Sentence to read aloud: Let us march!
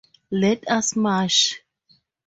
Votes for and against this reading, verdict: 4, 2, accepted